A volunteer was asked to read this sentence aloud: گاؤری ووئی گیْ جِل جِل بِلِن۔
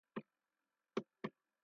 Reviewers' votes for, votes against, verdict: 0, 2, rejected